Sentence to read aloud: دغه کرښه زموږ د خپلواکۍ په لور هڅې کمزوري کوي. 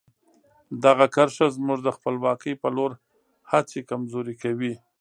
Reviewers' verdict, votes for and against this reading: accepted, 2, 0